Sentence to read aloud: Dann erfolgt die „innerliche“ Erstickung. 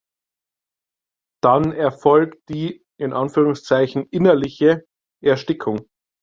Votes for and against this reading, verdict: 1, 2, rejected